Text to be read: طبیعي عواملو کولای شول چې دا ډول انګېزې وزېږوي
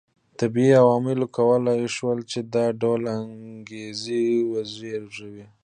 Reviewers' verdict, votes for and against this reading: accepted, 2, 0